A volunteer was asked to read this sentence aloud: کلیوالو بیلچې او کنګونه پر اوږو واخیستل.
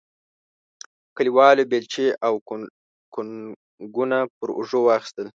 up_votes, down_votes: 0, 2